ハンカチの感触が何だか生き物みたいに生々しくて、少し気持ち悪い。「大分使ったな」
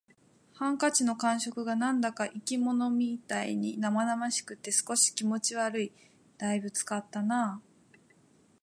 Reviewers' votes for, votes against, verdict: 2, 0, accepted